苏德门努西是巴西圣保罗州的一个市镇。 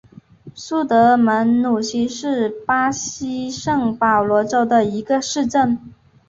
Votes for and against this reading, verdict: 1, 2, rejected